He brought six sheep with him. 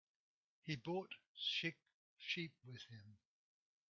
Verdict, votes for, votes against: rejected, 0, 2